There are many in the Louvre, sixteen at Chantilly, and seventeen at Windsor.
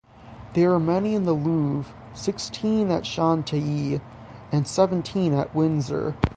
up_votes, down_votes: 6, 0